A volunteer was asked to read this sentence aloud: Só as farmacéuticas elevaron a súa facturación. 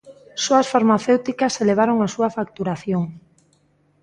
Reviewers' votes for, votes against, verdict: 2, 0, accepted